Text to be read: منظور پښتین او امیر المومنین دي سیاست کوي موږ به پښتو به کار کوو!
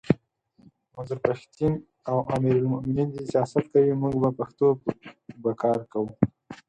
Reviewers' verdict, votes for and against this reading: accepted, 4, 0